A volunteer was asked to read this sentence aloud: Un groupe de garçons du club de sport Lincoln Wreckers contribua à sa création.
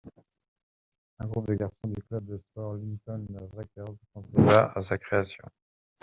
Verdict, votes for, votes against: rejected, 0, 2